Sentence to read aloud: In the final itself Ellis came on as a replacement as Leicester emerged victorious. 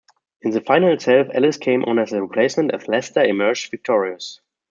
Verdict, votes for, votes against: accepted, 2, 0